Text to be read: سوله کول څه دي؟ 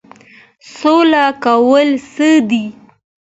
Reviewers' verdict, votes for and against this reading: accepted, 2, 1